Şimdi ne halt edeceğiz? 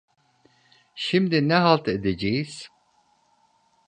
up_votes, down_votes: 2, 0